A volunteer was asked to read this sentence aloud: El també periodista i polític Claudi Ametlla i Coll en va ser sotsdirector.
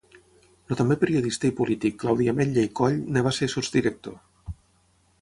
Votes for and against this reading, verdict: 3, 3, rejected